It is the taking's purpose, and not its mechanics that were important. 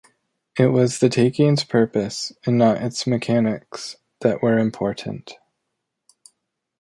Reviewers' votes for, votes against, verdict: 1, 2, rejected